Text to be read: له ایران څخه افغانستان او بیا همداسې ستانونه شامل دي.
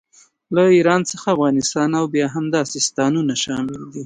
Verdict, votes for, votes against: rejected, 1, 2